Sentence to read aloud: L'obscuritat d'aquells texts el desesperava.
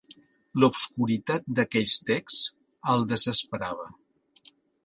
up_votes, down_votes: 2, 0